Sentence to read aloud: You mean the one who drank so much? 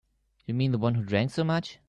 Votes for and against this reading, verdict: 4, 0, accepted